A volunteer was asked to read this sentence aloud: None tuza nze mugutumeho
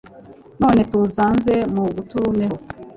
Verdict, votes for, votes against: accepted, 2, 1